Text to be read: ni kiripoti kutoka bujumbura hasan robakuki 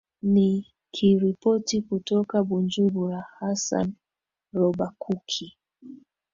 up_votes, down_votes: 2, 0